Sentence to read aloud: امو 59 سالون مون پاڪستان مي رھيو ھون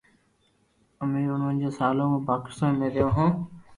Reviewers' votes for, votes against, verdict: 0, 2, rejected